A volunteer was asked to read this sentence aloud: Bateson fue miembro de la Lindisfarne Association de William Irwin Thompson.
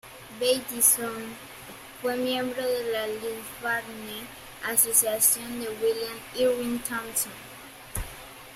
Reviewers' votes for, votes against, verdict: 0, 2, rejected